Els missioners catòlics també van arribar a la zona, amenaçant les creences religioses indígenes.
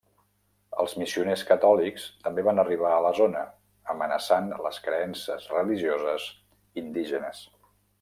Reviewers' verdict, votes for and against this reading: accepted, 3, 0